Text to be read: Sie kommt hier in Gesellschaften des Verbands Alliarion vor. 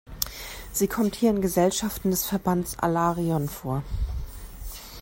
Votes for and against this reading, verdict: 1, 2, rejected